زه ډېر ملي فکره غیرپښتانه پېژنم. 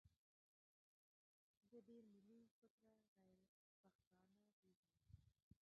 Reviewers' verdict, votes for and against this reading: rejected, 0, 2